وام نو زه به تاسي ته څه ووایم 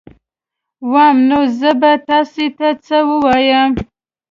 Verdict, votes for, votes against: accepted, 2, 0